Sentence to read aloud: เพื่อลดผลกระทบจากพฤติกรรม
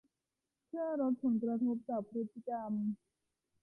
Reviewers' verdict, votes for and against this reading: accepted, 2, 1